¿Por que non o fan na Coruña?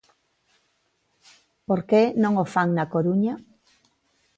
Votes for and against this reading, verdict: 2, 0, accepted